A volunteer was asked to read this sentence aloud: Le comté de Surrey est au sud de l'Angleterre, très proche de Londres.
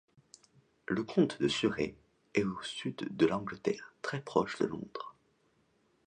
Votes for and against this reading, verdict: 1, 2, rejected